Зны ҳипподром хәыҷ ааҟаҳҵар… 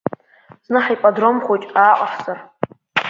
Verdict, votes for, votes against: rejected, 1, 2